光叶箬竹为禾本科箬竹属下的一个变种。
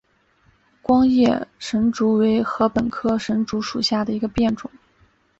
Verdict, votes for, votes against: rejected, 2, 3